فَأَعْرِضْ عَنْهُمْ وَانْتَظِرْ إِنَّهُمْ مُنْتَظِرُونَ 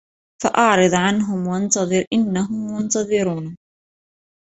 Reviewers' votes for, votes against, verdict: 2, 0, accepted